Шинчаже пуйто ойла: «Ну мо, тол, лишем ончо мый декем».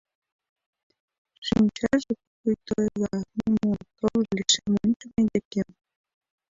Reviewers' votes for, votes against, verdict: 1, 2, rejected